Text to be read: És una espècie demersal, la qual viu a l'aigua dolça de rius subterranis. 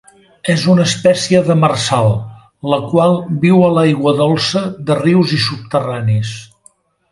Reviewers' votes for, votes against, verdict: 0, 2, rejected